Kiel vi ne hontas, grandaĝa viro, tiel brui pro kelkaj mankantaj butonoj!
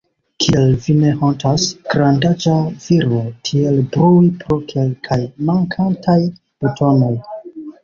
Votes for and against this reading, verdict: 0, 2, rejected